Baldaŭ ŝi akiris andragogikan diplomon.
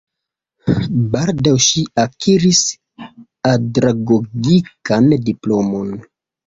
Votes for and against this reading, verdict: 0, 3, rejected